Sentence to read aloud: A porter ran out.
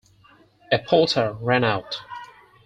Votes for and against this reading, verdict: 6, 0, accepted